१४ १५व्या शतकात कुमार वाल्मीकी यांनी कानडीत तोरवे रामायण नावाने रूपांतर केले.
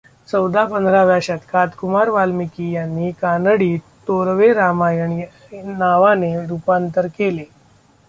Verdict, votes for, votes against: rejected, 0, 2